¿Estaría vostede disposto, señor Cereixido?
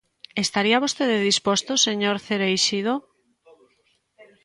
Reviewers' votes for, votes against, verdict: 2, 0, accepted